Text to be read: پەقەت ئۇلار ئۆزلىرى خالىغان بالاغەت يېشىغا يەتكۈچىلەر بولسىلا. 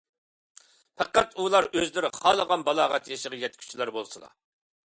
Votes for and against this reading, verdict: 2, 0, accepted